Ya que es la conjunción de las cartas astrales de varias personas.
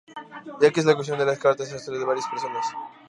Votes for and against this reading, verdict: 0, 2, rejected